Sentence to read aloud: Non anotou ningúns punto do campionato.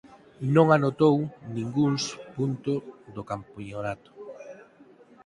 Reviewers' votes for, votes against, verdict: 0, 4, rejected